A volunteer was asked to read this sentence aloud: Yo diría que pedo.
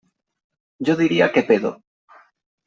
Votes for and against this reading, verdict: 3, 0, accepted